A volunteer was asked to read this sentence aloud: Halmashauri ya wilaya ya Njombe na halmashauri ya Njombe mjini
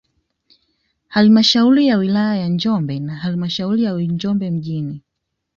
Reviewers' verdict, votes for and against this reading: accepted, 2, 0